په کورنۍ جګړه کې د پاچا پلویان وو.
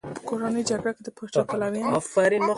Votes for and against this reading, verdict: 1, 2, rejected